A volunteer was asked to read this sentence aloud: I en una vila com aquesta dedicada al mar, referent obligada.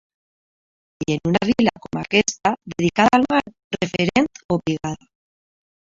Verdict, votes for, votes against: rejected, 0, 2